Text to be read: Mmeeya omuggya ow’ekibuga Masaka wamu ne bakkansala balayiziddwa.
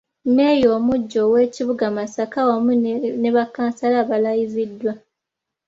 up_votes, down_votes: 2, 1